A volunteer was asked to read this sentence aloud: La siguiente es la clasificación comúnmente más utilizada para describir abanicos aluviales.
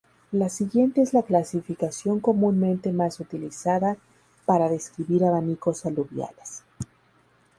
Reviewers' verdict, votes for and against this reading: accepted, 2, 0